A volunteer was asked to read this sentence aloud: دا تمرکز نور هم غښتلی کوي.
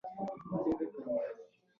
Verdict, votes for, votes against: rejected, 0, 2